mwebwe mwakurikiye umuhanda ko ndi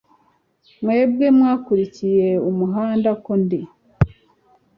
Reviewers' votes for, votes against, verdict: 2, 0, accepted